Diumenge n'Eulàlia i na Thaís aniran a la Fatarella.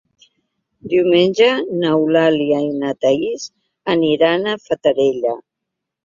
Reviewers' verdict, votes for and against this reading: rejected, 0, 2